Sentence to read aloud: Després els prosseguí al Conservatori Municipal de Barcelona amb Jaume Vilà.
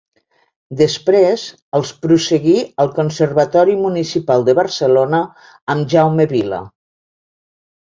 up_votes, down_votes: 1, 2